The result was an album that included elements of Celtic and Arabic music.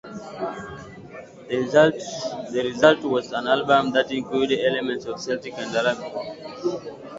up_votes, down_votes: 0, 2